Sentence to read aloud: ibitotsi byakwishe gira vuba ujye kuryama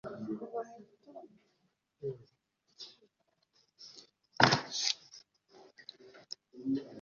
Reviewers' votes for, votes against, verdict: 0, 2, rejected